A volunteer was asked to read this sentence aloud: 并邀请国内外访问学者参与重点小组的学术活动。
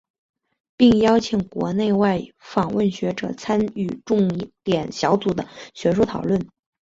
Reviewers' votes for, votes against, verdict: 1, 3, rejected